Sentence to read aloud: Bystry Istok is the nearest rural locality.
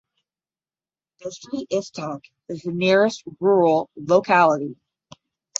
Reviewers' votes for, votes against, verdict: 5, 5, rejected